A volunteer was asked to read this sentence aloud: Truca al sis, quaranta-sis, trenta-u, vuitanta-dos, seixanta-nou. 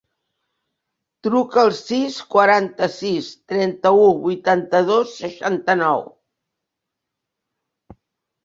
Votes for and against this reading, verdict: 3, 0, accepted